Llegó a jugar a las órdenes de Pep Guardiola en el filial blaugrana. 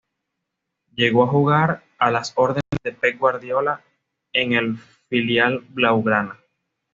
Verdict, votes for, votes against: accepted, 2, 0